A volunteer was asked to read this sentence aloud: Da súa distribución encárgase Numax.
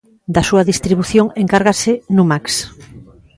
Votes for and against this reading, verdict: 2, 1, accepted